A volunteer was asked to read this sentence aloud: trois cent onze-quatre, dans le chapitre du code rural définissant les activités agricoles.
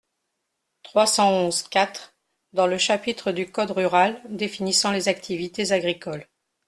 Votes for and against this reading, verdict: 2, 0, accepted